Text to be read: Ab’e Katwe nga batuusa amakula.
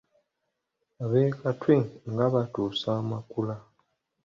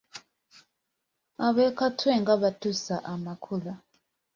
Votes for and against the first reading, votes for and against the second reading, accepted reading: 1, 2, 2, 0, second